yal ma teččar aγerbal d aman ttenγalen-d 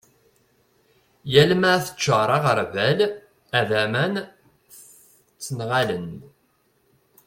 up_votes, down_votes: 1, 3